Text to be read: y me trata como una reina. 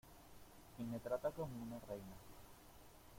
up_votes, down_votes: 2, 0